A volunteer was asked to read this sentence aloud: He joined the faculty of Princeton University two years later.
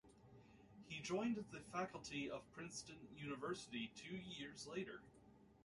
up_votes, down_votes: 2, 0